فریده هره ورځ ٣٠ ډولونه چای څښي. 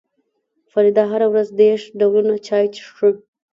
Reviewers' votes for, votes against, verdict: 0, 2, rejected